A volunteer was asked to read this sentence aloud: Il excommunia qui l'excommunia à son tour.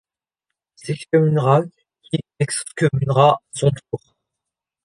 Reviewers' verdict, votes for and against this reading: rejected, 1, 2